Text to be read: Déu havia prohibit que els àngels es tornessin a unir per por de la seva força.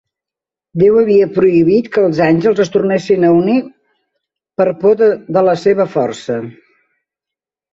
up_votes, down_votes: 0, 2